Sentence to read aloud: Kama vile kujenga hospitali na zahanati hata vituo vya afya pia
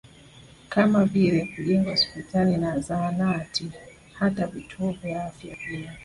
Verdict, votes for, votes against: rejected, 0, 2